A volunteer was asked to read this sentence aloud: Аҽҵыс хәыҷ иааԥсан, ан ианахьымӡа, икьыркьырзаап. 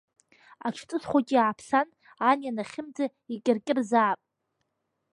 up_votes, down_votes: 2, 0